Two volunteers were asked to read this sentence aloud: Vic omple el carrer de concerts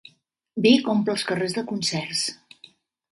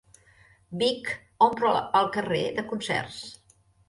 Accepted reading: second